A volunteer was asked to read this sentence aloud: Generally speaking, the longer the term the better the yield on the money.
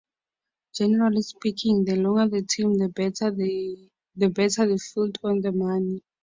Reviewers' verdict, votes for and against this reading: rejected, 0, 4